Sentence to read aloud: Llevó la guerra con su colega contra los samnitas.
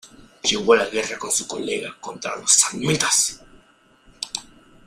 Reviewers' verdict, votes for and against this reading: rejected, 1, 2